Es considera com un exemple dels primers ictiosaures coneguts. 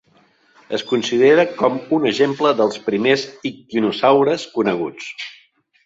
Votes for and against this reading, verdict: 1, 2, rejected